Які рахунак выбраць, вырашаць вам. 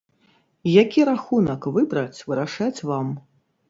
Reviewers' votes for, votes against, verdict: 3, 0, accepted